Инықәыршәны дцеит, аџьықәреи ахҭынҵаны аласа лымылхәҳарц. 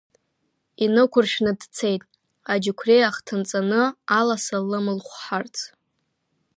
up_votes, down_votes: 2, 1